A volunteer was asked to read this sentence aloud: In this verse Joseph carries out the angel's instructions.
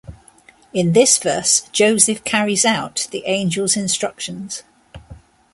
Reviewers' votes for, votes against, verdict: 2, 0, accepted